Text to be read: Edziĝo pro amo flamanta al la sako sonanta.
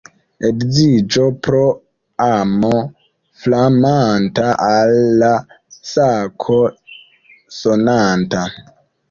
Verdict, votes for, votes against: rejected, 0, 2